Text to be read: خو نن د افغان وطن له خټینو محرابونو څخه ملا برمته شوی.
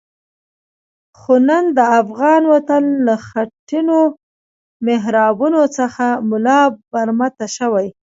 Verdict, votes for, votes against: accepted, 2, 1